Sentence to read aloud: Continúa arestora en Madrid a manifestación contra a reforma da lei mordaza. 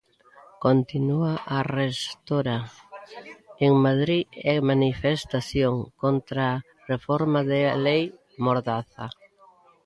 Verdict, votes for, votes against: rejected, 0, 2